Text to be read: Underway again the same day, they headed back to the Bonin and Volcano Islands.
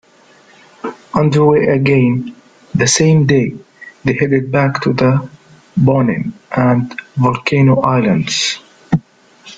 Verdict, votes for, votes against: rejected, 1, 2